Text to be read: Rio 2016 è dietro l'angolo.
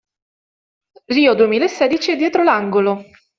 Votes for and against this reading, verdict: 0, 2, rejected